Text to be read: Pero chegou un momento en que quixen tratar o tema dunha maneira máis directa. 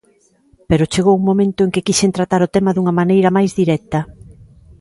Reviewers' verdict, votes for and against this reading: accepted, 2, 0